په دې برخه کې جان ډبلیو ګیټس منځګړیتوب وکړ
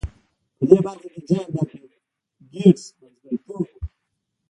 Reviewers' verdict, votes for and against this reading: rejected, 0, 2